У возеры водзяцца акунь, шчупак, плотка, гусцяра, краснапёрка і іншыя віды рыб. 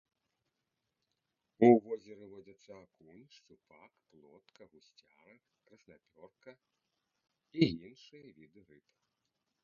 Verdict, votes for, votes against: rejected, 0, 2